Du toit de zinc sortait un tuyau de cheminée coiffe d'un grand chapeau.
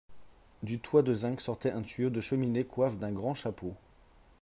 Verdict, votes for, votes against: accepted, 4, 0